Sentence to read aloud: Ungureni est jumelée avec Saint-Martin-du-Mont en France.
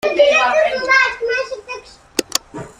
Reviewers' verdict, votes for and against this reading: rejected, 0, 2